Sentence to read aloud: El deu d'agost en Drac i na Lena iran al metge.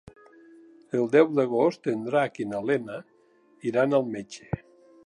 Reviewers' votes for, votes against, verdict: 3, 0, accepted